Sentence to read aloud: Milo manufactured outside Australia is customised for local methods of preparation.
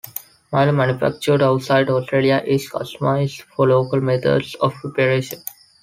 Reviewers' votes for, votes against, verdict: 2, 0, accepted